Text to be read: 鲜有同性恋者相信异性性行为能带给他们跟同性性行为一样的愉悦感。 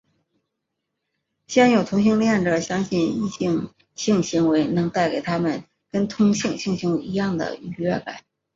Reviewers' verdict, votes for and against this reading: accepted, 4, 0